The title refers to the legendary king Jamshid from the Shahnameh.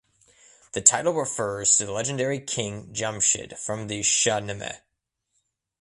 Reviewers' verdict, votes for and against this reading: accepted, 2, 0